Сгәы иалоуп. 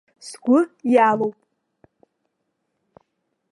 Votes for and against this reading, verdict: 2, 1, accepted